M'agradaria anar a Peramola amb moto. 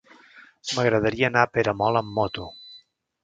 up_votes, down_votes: 0, 2